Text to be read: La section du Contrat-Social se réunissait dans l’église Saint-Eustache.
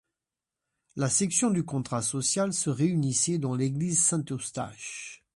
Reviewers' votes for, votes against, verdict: 1, 2, rejected